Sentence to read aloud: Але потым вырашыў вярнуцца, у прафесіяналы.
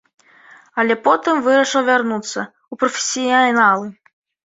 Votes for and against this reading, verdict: 1, 2, rejected